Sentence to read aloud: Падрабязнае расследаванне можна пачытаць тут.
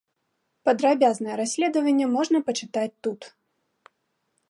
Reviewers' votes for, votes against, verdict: 2, 0, accepted